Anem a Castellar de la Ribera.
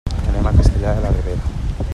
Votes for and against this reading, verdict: 3, 1, accepted